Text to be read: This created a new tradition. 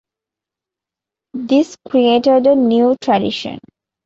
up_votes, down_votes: 2, 0